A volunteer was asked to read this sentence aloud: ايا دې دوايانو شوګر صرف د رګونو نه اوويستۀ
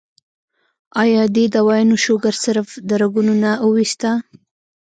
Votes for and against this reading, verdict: 0, 2, rejected